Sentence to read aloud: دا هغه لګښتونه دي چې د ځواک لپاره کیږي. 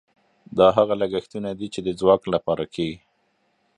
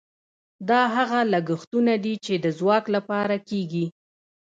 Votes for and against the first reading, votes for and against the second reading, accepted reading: 1, 2, 2, 0, second